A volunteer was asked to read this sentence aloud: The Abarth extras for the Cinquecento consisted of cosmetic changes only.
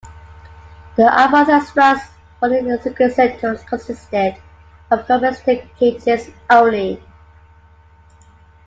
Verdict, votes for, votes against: rejected, 0, 2